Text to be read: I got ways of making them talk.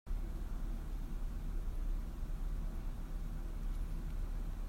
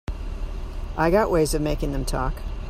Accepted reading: second